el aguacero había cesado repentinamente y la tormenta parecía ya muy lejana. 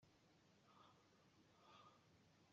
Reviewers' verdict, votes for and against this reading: rejected, 0, 2